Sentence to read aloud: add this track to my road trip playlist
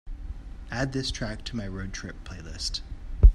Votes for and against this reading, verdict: 4, 0, accepted